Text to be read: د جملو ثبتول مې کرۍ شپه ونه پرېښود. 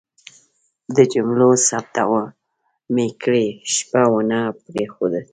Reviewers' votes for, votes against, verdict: 2, 0, accepted